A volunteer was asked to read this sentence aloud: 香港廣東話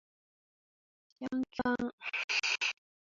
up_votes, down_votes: 0, 2